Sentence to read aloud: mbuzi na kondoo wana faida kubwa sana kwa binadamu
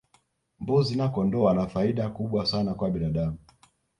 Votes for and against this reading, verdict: 1, 2, rejected